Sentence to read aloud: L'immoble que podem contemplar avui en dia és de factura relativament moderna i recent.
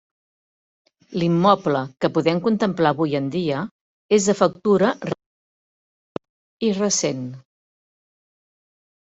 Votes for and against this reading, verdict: 0, 2, rejected